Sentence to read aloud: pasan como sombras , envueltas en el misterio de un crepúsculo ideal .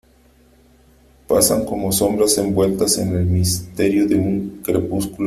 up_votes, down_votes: 0, 2